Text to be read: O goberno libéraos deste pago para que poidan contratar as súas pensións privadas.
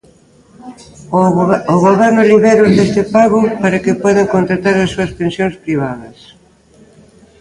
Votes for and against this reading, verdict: 0, 2, rejected